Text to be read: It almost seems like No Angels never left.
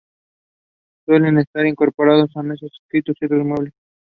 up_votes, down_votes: 0, 2